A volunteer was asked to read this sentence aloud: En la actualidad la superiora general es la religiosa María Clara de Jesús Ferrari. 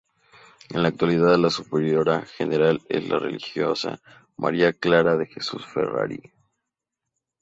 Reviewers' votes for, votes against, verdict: 2, 0, accepted